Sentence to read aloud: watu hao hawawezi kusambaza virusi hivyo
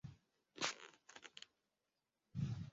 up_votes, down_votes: 0, 2